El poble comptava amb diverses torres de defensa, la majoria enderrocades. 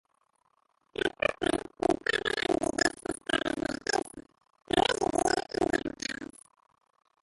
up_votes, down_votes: 0, 2